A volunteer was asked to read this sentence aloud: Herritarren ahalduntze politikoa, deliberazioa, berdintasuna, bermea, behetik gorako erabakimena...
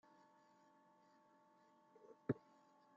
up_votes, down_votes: 0, 2